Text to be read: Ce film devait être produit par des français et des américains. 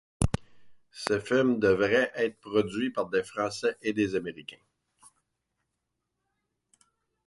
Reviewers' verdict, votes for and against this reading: rejected, 1, 2